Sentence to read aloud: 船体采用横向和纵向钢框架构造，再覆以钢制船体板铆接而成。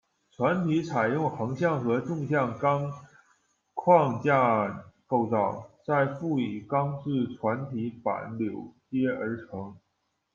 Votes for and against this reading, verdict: 1, 2, rejected